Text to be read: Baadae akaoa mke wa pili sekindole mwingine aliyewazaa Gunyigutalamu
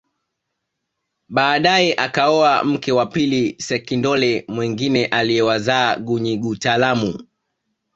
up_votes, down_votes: 2, 0